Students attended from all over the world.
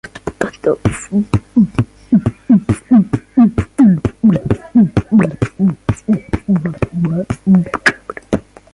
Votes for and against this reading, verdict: 0, 2, rejected